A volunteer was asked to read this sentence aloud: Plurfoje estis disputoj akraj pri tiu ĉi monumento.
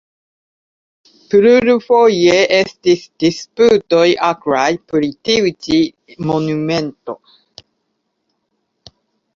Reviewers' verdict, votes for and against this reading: accepted, 2, 1